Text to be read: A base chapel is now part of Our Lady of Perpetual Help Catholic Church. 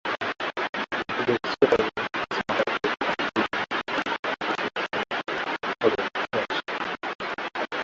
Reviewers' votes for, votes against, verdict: 0, 2, rejected